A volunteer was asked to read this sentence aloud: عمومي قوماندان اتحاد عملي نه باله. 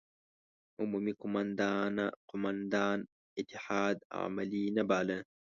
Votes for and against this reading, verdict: 1, 2, rejected